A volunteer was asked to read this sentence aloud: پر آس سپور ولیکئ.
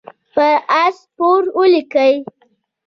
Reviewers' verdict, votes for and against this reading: accepted, 2, 0